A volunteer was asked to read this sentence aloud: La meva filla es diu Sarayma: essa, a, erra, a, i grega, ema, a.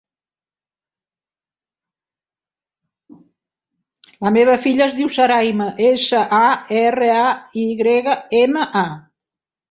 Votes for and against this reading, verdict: 1, 2, rejected